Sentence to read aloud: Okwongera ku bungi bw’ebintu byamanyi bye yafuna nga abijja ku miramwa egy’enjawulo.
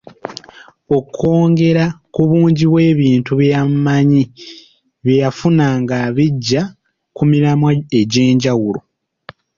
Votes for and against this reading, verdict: 1, 2, rejected